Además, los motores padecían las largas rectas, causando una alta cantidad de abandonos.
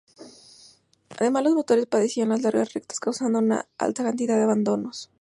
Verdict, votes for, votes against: accepted, 2, 0